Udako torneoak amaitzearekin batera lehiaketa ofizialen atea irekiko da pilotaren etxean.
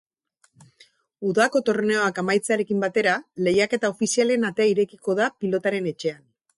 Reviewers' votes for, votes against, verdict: 6, 0, accepted